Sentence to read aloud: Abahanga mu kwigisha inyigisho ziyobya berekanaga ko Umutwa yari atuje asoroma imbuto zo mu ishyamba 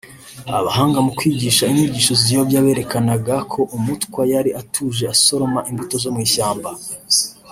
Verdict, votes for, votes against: rejected, 1, 2